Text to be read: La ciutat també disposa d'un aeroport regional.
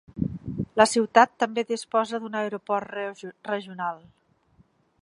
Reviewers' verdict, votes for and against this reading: rejected, 1, 2